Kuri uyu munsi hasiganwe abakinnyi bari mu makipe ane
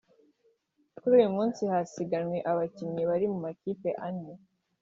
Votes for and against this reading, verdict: 1, 2, rejected